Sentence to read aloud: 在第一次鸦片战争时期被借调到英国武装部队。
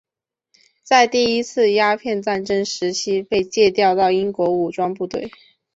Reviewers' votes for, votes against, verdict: 2, 0, accepted